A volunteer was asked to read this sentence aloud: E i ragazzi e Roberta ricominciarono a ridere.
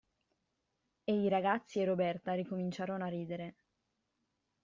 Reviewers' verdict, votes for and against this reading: accepted, 2, 0